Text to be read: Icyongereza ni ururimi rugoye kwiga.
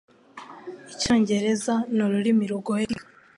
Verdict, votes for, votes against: rejected, 1, 2